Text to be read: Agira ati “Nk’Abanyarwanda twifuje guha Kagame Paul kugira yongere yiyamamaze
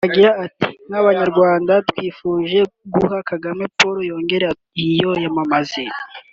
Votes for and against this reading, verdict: 1, 3, rejected